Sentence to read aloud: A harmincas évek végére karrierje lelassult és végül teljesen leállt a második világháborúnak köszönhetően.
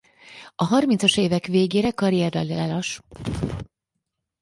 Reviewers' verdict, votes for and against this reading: rejected, 0, 4